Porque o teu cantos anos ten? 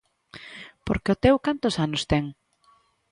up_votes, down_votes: 2, 0